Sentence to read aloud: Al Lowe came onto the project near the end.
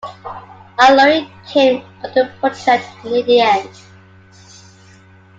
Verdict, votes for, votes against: accepted, 2, 0